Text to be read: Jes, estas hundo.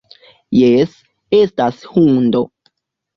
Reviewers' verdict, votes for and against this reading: accepted, 2, 0